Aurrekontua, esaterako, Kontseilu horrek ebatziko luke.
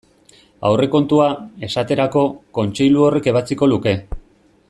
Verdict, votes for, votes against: accepted, 2, 0